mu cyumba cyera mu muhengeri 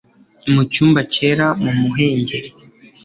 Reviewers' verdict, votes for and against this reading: accepted, 2, 0